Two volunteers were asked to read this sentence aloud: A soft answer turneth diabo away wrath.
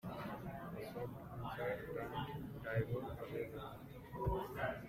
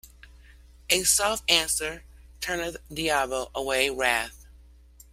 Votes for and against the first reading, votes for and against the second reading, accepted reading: 0, 2, 2, 0, second